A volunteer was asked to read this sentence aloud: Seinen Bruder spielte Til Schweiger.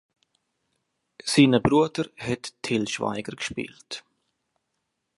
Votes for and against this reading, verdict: 0, 2, rejected